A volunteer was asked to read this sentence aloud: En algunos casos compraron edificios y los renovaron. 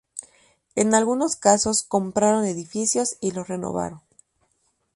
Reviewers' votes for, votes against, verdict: 2, 0, accepted